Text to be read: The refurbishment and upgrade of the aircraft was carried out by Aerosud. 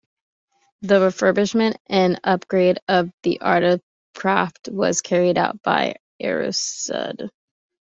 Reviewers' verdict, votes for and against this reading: rejected, 1, 2